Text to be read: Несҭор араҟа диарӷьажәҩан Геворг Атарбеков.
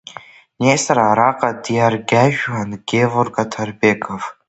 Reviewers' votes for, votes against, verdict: 2, 3, rejected